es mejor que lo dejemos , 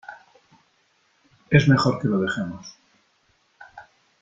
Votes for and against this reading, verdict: 3, 0, accepted